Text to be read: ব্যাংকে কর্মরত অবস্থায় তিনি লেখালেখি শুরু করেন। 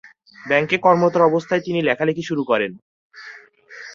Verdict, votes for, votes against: accepted, 2, 0